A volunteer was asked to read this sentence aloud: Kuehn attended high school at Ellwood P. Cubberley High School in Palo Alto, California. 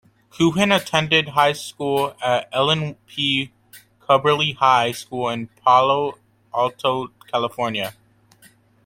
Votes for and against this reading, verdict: 0, 2, rejected